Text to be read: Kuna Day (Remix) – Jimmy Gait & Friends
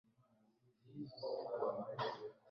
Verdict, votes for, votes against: rejected, 0, 2